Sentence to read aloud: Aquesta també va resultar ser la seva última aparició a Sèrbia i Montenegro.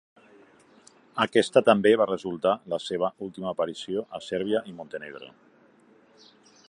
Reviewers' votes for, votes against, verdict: 0, 2, rejected